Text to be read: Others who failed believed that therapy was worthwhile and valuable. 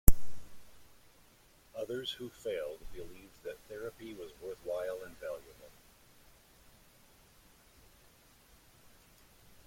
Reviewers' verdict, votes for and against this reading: accepted, 2, 0